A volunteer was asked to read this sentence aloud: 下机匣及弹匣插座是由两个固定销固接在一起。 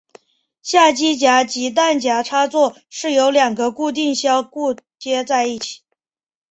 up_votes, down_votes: 2, 0